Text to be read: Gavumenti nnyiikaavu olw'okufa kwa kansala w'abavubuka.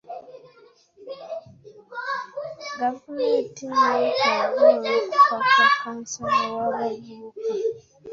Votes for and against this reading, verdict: 2, 0, accepted